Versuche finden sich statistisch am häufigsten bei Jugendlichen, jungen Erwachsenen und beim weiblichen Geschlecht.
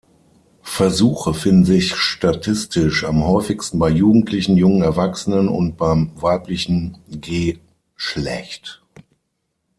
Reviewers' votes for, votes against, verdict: 3, 6, rejected